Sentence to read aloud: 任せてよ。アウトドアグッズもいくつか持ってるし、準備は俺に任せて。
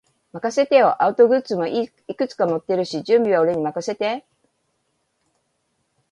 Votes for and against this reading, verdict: 1, 2, rejected